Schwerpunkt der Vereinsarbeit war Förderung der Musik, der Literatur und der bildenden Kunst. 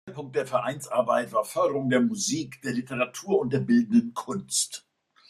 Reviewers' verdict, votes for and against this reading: rejected, 0, 2